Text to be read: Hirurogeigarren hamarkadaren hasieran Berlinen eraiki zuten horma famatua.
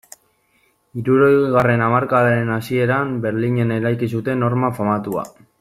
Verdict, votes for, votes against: rejected, 1, 2